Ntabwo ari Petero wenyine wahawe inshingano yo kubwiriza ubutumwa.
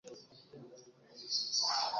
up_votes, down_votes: 0, 2